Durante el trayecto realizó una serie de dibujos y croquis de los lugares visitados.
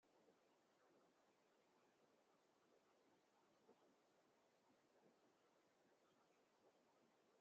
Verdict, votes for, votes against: rejected, 0, 2